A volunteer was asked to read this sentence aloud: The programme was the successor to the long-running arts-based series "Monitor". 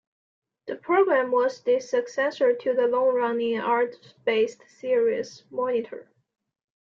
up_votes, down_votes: 2, 1